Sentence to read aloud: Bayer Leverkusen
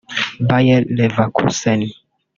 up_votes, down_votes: 0, 2